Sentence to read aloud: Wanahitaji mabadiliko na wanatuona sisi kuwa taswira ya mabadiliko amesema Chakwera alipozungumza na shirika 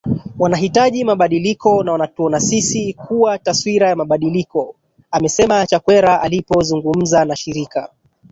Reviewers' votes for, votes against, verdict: 1, 2, rejected